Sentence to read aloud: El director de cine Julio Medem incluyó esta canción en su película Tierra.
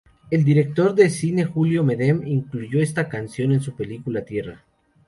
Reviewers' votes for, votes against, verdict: 2, 0, accepted